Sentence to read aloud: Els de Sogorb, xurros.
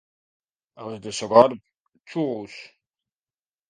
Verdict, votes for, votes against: rejected, 1, 2